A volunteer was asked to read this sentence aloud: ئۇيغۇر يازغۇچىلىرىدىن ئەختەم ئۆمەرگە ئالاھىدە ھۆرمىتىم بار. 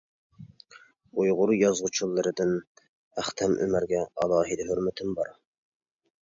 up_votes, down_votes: 2, 0